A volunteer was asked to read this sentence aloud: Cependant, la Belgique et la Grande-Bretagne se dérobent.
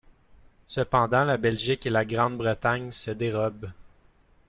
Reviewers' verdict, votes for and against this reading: accepted, 3, 0